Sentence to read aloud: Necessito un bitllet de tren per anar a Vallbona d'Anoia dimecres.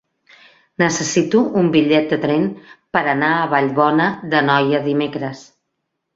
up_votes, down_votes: 3, 0